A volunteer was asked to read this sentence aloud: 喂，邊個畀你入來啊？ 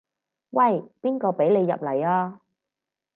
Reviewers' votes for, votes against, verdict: 2, 4, rejected